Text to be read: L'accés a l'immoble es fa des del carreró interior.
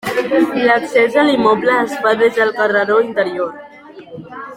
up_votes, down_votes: 0, 2